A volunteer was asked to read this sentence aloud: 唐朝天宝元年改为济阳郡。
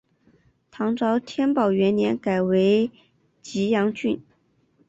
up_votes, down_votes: 2, 0